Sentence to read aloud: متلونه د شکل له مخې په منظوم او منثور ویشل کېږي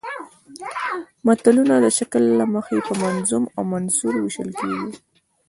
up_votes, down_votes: 2, 1